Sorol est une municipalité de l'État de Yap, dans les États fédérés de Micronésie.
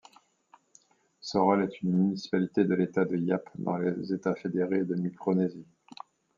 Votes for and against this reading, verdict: 2, 1, accepted